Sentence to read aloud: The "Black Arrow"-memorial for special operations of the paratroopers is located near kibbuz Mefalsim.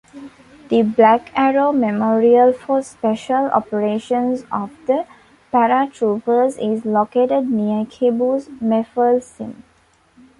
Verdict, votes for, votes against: accepted, 2, 0